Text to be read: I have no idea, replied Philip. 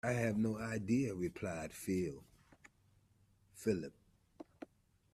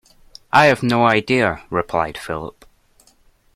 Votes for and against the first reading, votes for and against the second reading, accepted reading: 0, 2, 2, 0, second